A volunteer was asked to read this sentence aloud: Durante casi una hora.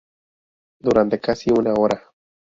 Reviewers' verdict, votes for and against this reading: accepted, 4, 0